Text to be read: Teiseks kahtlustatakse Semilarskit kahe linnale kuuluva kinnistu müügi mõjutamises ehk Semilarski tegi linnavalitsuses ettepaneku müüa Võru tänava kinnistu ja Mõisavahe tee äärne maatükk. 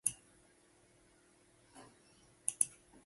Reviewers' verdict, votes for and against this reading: rejected, 0, 2